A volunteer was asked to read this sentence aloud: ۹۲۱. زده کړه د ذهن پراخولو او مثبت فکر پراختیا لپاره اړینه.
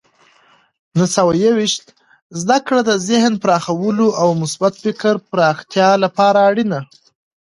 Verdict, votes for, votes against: rejected, 0, 2